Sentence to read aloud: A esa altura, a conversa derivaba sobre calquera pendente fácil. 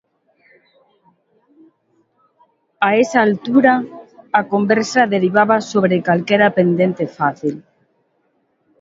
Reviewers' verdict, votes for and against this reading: accepted, 3, 0